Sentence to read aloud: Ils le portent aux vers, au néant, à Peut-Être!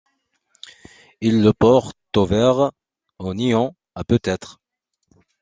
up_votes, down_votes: 2, 0